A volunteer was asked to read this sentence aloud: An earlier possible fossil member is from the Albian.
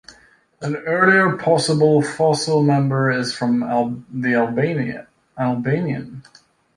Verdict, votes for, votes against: rejected, 0, 2